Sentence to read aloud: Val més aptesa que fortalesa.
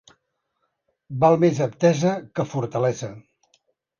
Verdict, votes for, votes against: accepted, 2, 0